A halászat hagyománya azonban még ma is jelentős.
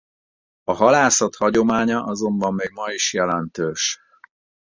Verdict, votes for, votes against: rejected, 2, 2